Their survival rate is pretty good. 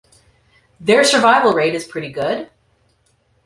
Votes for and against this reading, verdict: 2, 0, accepted